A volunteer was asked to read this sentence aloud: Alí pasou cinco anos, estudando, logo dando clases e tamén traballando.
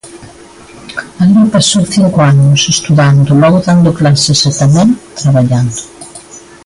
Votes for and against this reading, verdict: 1, 2, rejected